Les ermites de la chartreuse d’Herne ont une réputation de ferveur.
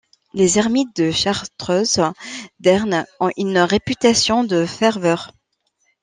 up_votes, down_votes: 1, 2